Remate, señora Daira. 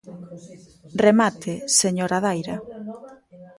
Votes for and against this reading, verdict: 1, 2, rejected